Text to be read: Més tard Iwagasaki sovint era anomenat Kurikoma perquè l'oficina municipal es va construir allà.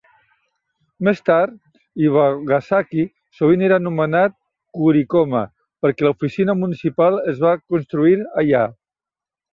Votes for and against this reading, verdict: 2, 0, accepted